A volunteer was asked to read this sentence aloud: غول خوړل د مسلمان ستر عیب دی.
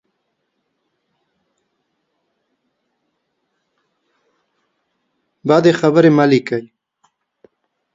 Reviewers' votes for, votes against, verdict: 0, 2, rejected